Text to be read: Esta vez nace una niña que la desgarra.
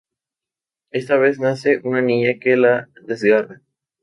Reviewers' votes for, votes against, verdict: 0, 2, rejected